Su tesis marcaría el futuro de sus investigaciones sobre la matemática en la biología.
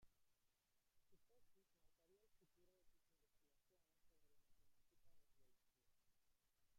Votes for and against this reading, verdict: 0, 2, rejected